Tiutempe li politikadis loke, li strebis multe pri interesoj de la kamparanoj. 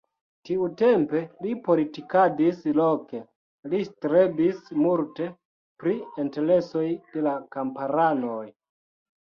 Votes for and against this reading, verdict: 1, 2, rejected